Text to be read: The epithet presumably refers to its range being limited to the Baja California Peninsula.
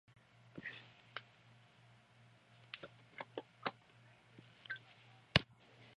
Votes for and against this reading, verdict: 0, 2, rejected